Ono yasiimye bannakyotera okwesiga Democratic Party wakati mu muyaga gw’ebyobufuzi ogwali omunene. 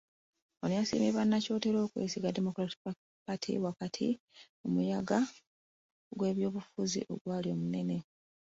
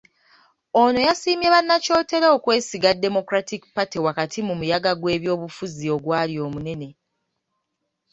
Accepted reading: second